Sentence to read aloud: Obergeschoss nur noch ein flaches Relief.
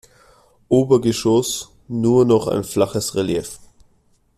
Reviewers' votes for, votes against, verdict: 2, 0, accepted